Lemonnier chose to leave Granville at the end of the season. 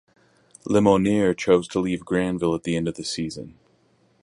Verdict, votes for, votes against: accepted, 4, 0